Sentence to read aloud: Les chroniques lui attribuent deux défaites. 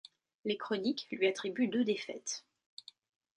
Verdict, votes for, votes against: accepted, 2, 0